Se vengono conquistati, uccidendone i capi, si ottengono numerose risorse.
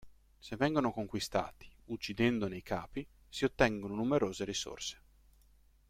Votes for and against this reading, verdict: 2, 0, accepted